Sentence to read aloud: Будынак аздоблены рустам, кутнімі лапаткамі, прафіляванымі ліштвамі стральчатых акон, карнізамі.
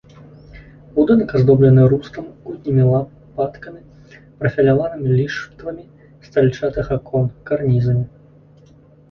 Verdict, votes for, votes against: rejected, 1, 2